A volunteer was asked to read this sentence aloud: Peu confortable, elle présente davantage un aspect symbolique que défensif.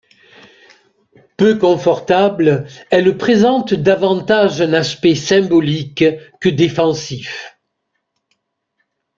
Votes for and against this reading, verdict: 2, 1, accepted